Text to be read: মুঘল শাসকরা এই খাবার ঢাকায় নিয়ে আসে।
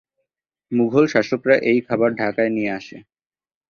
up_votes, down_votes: 24, 0